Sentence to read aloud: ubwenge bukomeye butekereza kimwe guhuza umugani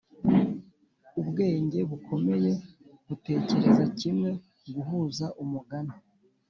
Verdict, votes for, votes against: rejected, 1, 2